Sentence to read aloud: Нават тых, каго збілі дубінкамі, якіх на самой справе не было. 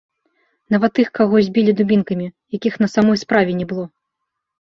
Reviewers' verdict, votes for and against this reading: accepted, 3, 0